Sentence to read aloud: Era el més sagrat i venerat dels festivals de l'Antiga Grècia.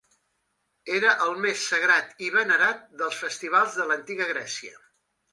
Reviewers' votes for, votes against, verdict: 2, 0, accepted